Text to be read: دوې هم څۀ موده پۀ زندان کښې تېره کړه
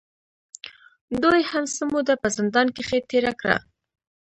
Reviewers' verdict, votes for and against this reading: accepted, 2, 0